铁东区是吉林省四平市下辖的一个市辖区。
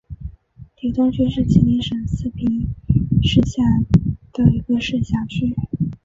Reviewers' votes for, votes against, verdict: 1, 2, rejected